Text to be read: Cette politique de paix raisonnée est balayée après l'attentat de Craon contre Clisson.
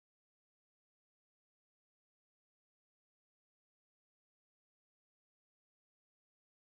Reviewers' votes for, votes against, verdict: 0, 2, rejected